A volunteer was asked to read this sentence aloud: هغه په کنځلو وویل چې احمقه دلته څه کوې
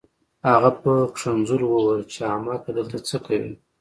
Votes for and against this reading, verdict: 2, 1, accepted